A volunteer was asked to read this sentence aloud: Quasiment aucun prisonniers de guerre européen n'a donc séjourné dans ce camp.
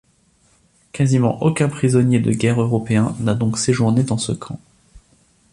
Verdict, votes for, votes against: accepted, 2, 0